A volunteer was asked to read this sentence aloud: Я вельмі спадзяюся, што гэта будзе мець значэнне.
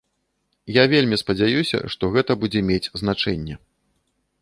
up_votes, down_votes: 2, 0